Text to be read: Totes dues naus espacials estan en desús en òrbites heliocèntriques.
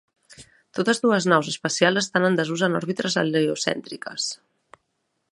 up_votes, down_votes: 1, 2